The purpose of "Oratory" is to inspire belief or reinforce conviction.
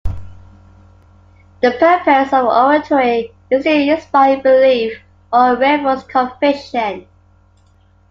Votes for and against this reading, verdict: 1, 2, rejected